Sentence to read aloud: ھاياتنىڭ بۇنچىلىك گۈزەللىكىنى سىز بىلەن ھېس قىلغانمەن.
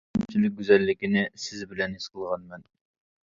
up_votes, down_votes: 0, 2